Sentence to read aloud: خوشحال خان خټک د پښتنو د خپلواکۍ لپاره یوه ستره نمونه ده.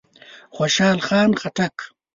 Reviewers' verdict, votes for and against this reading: rejected, 0, 2